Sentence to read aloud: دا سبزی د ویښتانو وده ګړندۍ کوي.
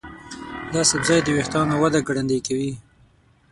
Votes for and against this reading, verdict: 0, 6, rejected